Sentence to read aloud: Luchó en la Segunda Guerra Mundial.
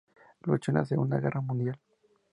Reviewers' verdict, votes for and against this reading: accepted, 2, 0